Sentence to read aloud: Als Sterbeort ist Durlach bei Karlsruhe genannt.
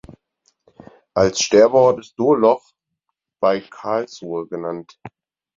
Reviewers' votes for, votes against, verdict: 2, 4, rejected